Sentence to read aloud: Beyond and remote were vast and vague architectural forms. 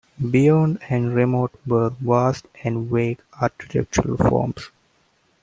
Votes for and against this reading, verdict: 2, 1, accepted